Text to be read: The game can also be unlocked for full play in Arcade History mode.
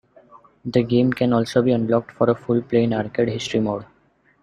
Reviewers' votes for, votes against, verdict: 1, 2, rejected